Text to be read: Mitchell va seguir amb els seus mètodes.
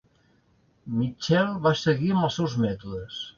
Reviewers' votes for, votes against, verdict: 2, 0, accepted